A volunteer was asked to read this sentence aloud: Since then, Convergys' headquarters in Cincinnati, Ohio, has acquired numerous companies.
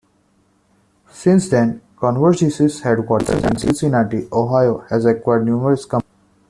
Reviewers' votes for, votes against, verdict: 0, 2, rejected